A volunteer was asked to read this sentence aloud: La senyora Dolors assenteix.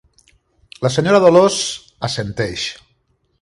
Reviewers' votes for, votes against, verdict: 3, 0, accepted